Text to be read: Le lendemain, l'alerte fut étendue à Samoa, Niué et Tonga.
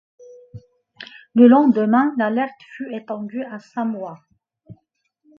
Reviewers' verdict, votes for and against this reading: rejected, 0, 2